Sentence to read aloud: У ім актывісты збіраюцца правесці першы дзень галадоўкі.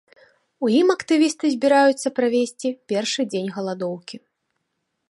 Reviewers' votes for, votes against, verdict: 2, 0, accepted